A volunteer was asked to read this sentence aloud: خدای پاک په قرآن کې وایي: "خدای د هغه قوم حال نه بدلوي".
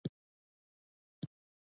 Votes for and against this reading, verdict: 0, 2, rejected